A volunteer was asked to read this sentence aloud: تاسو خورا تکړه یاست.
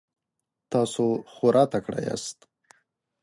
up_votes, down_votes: 2, 0